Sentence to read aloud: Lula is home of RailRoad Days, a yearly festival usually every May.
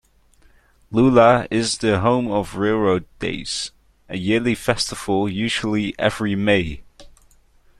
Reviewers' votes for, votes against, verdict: 1, 2, rejected